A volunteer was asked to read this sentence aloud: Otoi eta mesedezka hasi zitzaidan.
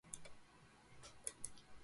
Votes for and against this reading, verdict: 0, 2, rejected